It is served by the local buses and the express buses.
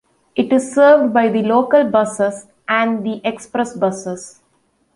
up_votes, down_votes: 2, 0